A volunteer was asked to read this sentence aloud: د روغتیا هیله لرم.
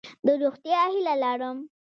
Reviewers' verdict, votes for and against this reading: accepted, 2, 0